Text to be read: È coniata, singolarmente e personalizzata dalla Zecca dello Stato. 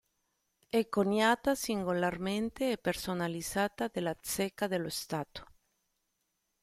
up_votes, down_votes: 0, 2